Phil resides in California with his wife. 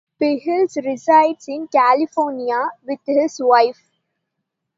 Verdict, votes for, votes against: accepted, 2, 0